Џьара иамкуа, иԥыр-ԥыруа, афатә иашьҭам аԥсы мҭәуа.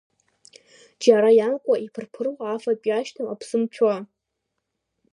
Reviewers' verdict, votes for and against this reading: accepted, 3, 1